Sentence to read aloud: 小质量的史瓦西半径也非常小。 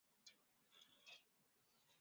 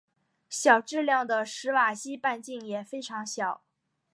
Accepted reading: second